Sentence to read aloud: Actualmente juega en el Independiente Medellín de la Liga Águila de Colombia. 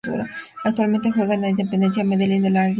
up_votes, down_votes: 0, 2